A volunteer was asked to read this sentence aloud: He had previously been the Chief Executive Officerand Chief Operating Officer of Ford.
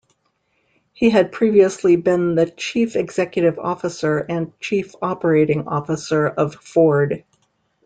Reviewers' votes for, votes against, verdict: 1, 2, rejected